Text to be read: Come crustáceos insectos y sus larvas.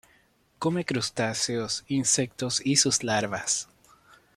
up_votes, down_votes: 2, 1